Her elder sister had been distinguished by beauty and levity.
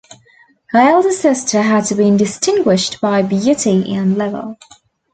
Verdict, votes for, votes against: rejected, 0, 2